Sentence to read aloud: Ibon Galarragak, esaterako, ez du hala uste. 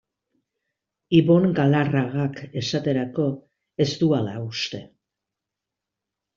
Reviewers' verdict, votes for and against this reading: accepted, 2, 0